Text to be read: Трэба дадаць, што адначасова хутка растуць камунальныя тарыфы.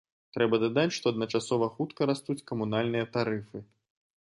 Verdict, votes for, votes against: accepted, 2, 0